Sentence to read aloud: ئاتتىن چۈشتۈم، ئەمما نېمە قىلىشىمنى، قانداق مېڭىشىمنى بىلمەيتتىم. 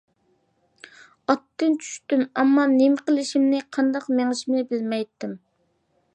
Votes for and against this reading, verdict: 2, 0, accepted